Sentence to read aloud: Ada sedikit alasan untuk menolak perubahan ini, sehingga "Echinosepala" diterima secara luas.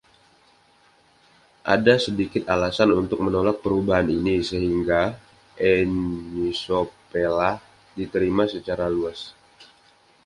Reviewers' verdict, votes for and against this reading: rejected, 1, 2